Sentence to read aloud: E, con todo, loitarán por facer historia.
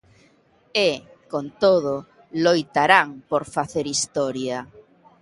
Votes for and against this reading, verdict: 2, 0, accepted